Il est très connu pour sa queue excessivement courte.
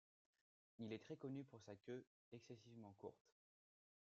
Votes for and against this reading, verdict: 2, 0, accepted